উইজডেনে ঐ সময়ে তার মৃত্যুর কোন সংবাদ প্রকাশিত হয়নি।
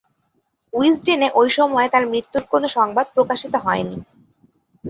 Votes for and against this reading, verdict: 2, 0, accepted